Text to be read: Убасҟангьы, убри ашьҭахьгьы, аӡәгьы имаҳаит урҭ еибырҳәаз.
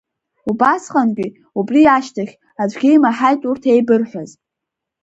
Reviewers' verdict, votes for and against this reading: accepted, 4, 2